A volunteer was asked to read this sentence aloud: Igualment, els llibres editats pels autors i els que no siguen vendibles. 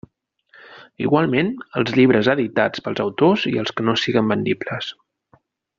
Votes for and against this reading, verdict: 2, 0, accepted